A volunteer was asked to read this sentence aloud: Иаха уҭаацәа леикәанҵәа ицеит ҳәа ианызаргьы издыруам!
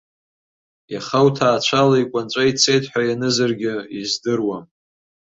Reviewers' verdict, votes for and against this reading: accepted, 2, 0